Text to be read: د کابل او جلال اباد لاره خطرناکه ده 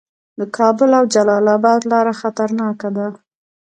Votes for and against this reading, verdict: 1, 2, rejected